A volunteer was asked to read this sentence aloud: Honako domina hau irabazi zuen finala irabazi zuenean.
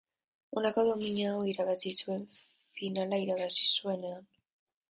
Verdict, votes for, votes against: accepted, 2, 0